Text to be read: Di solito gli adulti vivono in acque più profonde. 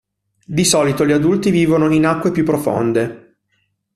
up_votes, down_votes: 1, 2